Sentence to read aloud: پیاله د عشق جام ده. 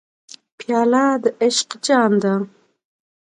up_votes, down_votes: 2, 0